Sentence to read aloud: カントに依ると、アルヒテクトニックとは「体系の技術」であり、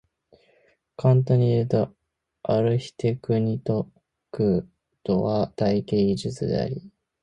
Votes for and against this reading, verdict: 0, 2, rejected